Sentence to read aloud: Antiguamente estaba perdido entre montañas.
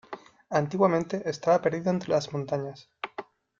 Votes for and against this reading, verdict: 2, 1, accepted